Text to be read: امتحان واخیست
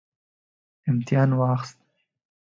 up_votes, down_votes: 2, 0